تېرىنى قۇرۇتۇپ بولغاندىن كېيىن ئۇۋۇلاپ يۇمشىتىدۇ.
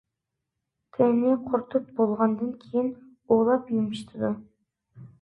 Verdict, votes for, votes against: accepted, 2, 1